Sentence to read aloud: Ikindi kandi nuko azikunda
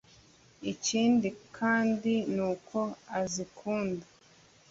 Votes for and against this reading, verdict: 2, 0, accepted